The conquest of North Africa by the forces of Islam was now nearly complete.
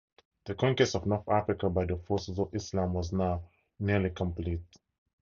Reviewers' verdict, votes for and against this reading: accepted, 4, 2